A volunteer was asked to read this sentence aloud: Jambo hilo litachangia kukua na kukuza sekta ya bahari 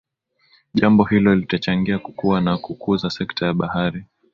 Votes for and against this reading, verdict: 3, 0, accepted